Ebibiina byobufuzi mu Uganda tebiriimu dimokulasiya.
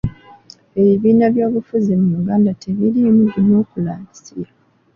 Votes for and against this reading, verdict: 2, 1, accepted